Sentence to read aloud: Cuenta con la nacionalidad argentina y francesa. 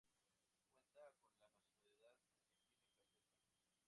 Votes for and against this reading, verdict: 0, 2, rejected